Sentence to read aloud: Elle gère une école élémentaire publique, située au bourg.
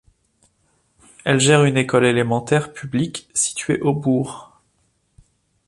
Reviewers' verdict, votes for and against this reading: accepted, 3, 0